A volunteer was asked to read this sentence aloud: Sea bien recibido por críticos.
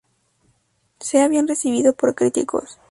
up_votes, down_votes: 2, 0